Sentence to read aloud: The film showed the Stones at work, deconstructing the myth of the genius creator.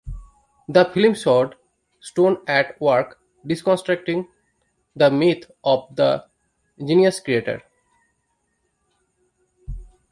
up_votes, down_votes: 0, 2